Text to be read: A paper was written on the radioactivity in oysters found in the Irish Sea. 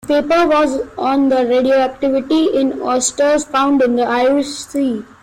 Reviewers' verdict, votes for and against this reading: rejected, 0, 2